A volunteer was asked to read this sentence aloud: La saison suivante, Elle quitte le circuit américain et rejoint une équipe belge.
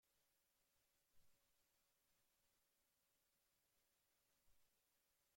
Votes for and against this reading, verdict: 1, 2, rejected